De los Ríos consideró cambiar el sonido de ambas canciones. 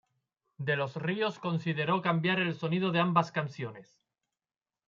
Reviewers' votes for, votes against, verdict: 2, 0, accepted